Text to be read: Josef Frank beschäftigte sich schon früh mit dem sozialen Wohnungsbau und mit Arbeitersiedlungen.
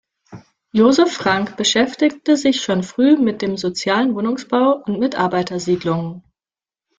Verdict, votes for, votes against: accepted, 2, 0